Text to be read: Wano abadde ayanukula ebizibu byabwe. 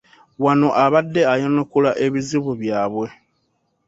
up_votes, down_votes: 2, 0